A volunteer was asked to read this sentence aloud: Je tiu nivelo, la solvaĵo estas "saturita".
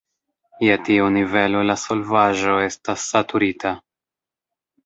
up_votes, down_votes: 0, 2